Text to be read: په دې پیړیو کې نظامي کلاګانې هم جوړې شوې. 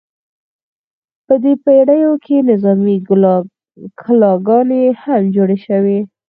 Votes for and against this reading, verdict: 4, 0, accepted